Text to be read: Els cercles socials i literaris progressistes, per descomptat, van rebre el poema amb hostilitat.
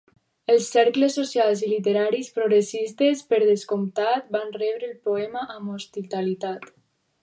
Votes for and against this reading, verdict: 2, 2, rejected